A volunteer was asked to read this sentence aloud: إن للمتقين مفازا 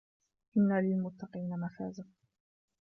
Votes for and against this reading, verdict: 1, 2, rejected